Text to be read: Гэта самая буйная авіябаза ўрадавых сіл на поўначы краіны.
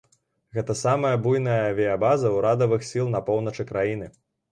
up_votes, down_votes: 1, 2